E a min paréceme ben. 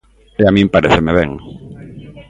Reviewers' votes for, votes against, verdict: 2, 1, accepted